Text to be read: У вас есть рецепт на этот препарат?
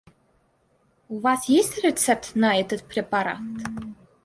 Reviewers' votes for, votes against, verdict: 2, 0, accepted